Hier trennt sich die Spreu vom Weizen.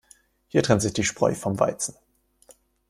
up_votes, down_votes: 2, 0